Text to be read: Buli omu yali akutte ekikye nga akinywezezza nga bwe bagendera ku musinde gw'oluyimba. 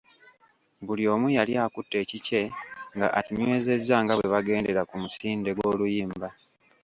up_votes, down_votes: 0, 3